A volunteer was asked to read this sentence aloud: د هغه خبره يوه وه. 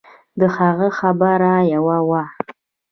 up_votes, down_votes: 2, 0